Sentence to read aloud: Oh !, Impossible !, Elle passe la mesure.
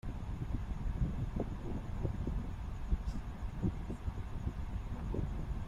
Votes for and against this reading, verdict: 0, 2, rejected